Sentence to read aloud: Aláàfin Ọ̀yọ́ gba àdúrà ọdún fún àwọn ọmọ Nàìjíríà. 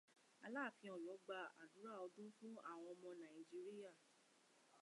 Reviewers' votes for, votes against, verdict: 2, 0, accepted